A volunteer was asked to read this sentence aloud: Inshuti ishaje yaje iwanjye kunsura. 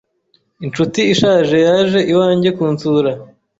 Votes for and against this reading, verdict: 2, 0, accepted